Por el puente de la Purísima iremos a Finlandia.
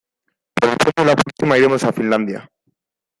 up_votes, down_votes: 0, 2